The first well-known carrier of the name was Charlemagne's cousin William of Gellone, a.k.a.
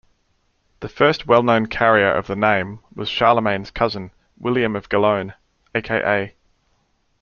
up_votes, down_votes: 2, 0